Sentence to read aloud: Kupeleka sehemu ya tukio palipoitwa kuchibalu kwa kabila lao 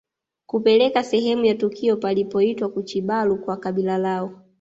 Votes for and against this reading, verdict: 2, 0, accepted